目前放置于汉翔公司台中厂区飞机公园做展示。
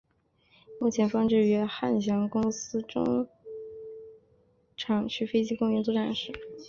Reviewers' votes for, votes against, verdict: 0, 4, rejected